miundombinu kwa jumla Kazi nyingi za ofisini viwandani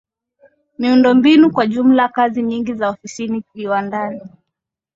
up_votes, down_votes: 2, 0